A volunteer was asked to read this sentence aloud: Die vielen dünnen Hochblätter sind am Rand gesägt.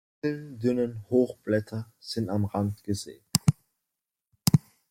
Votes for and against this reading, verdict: 0, 2, rejected